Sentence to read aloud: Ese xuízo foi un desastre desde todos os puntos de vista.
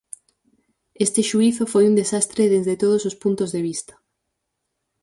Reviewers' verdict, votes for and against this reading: rejected, 0, 4